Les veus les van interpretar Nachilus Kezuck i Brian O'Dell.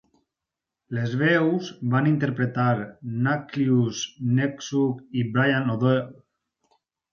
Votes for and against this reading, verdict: 0, 4, rejected